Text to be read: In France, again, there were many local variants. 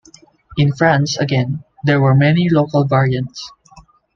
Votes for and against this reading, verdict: 2, 0, accepted